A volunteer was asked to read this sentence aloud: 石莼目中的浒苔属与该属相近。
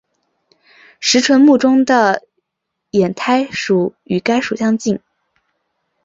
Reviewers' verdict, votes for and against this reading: accepted, 2, 1